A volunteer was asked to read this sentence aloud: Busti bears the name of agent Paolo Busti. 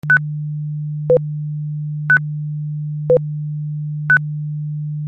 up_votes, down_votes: 0, 2